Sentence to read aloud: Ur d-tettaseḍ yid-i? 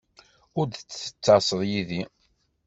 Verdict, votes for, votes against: rejected, 1, 2